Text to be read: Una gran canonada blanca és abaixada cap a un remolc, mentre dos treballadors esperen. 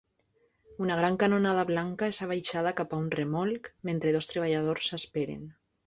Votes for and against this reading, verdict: 2, 0, accepted